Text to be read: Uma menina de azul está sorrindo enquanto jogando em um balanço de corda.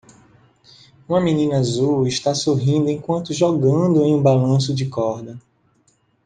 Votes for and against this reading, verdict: 1, 2, rejected